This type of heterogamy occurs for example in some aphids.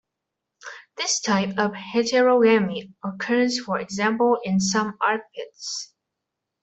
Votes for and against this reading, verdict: 0, 2, rejected